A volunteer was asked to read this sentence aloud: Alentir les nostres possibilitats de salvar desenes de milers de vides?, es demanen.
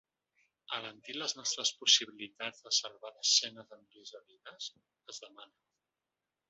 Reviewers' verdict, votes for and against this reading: rejected, 1, 2